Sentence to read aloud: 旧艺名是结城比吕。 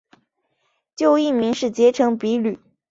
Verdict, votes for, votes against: accepted, 6, 0